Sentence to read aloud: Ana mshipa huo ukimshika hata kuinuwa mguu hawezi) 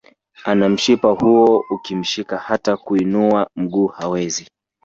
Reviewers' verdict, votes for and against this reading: rejected, 1, 2